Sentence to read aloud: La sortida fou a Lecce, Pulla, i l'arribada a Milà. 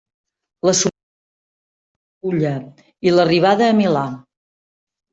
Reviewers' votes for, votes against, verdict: 0, 2, rejected